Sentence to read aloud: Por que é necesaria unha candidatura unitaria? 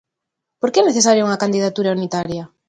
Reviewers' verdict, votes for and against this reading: accepted, 2, 0